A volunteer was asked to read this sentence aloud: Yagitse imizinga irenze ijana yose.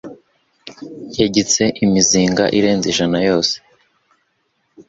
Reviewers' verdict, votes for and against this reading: accepted, 3, 0